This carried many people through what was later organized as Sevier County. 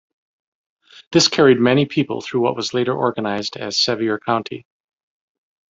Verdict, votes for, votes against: accepted, 2, 0